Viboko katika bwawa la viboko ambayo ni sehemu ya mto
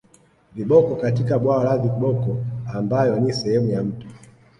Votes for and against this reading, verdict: 1, 2, rejected